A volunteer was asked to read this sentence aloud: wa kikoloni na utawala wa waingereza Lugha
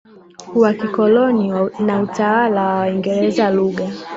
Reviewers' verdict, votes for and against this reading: rejected, 0, 5